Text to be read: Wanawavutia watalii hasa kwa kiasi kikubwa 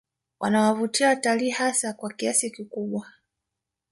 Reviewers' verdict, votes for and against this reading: rejected, 1, 2